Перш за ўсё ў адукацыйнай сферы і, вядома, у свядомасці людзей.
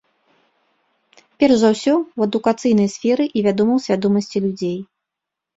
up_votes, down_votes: 2, 0